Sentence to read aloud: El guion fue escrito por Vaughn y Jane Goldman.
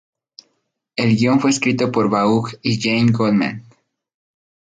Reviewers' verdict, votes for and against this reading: accepted, 2, 0